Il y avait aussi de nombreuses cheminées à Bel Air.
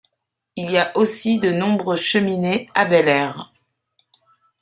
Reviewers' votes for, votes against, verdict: 0, 2, rejected